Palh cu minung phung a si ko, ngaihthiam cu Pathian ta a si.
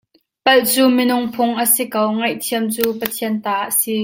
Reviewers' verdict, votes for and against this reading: accepted, 2, 0